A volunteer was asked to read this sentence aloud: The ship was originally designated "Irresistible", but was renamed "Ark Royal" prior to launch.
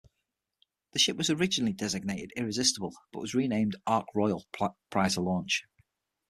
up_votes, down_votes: 0, 6